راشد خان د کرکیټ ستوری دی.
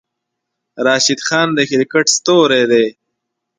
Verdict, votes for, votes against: accepted, 2, 0